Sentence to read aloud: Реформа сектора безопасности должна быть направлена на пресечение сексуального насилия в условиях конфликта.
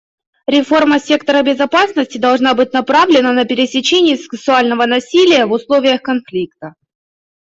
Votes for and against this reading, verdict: 1, 2, rejected